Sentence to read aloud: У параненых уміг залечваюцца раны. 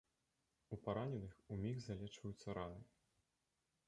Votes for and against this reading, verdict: 1, 3, rejected